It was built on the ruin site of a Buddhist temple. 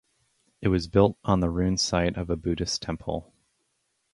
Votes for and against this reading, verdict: 2, 2, rejected